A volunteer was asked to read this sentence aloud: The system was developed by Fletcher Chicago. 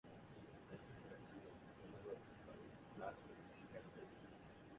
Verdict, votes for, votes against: rejected, 0, 2